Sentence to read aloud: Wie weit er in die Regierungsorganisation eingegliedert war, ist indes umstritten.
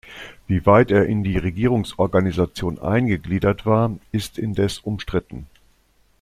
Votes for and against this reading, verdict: 2, 0, accepted